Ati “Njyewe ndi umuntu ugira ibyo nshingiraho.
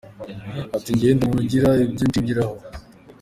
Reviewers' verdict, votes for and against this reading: accepted, 2, 0